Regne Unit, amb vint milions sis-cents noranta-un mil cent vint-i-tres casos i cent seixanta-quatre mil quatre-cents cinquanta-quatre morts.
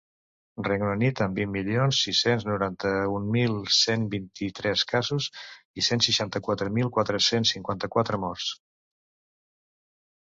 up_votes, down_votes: 2, 0